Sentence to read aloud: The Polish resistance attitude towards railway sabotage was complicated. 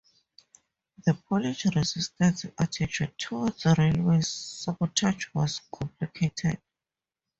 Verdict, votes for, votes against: accepted, 2, 0